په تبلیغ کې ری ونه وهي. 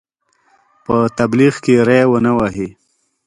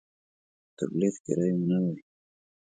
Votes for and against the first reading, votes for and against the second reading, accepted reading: 2, 0, 1, 2, first